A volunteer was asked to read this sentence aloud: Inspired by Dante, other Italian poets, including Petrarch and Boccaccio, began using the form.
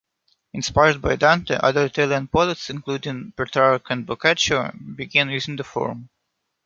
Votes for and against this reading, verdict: 2, 1, accepted